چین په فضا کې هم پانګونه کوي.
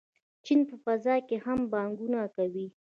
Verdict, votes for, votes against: rejected, 1, 2